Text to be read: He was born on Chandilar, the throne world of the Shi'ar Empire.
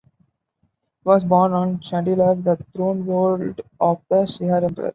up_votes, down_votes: 1, 3